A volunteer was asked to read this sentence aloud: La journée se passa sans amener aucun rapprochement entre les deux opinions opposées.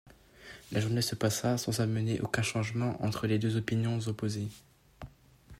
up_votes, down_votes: 1, 2